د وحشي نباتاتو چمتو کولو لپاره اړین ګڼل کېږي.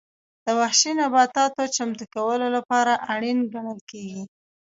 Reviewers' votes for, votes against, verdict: 2, 0, accepted